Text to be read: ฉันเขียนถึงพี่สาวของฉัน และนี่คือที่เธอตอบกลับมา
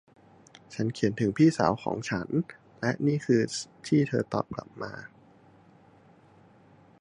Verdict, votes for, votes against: rejected, 1, 2